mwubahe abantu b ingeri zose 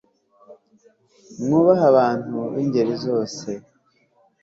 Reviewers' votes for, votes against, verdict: 2, 0, accepted